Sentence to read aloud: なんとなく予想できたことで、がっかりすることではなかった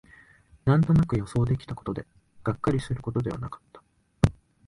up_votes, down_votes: 2, 0